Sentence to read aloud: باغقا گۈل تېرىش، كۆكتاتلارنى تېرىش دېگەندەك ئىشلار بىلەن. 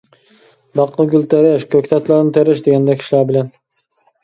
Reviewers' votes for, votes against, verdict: 1, 2, rejected